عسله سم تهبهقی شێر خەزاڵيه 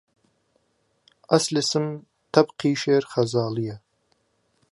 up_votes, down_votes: 0, 2